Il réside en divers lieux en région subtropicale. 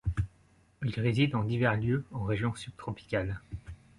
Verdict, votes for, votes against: accepted, 2, 0